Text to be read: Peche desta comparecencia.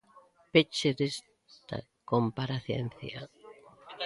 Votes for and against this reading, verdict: 0, 2, rejected